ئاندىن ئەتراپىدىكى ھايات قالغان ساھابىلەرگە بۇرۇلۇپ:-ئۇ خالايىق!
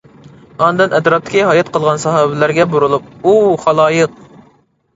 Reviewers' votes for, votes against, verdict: 0, 2, rejected